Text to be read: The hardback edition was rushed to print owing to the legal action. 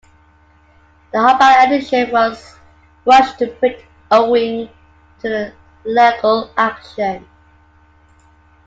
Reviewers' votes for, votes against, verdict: 2, 1, accepted